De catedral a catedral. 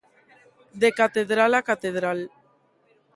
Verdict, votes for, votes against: accepted, 2, 0